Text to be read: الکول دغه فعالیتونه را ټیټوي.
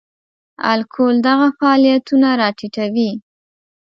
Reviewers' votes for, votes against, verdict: 2, 0, accepted